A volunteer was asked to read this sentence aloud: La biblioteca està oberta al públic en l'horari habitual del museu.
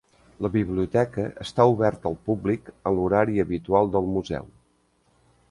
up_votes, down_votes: 2, 0